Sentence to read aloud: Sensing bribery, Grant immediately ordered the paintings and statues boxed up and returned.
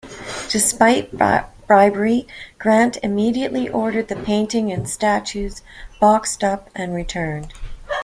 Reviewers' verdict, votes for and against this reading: rejected, 0, 2